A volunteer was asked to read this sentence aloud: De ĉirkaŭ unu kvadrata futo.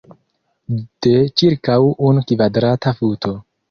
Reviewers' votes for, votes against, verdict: 2, 0, accepted